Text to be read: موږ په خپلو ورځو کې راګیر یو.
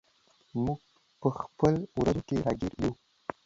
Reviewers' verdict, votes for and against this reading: accepted, 2, 1